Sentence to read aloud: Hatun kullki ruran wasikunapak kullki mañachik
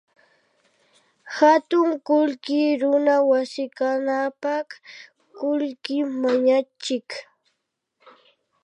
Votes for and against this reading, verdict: 0, 2, rejected